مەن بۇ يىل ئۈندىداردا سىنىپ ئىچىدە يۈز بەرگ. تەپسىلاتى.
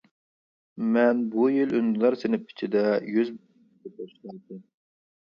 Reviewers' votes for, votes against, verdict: 0, 3, rejected